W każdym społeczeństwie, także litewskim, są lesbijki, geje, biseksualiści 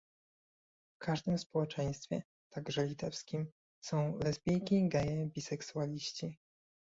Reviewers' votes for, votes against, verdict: 2, 0, accepted